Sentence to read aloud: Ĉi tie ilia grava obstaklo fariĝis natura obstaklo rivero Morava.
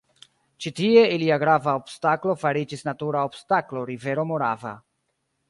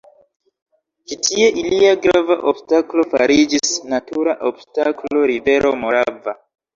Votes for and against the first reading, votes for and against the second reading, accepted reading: 1, 2, 2, 0, second